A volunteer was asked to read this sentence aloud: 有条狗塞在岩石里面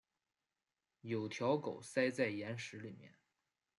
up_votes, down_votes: 2, 1